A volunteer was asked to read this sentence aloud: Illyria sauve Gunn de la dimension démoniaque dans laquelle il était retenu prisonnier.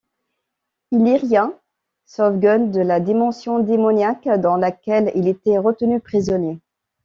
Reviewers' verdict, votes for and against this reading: accepted, 2, 0